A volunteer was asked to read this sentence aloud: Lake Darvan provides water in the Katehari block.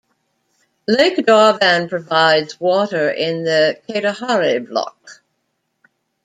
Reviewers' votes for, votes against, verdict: 2, 0, accepted